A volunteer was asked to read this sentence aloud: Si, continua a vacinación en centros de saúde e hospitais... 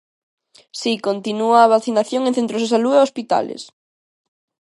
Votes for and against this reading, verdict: 0, 2, rejected